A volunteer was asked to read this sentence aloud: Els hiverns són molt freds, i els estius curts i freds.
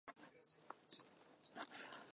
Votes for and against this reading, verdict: 0, 2, rejected